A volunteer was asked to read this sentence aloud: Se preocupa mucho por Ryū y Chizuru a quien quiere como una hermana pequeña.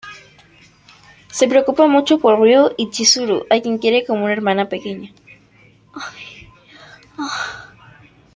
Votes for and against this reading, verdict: 1, 2, rejected